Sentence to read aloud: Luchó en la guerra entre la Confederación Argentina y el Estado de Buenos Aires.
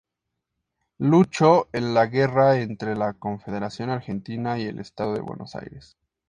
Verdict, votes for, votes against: accepted, 2, 0